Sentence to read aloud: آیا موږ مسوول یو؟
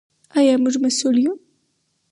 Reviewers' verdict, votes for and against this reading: rejected, 2, 2